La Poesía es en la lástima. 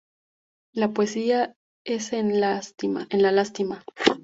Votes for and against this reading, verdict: 0, 4, rejected